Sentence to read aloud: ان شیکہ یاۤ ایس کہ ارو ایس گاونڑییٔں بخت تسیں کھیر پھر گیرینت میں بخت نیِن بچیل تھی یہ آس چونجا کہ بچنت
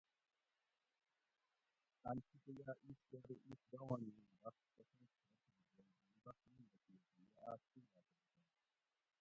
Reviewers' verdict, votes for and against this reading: rejected, 0, 2